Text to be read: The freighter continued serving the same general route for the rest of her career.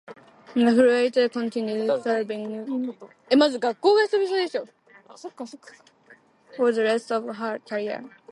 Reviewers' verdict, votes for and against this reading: rejected, 0, 2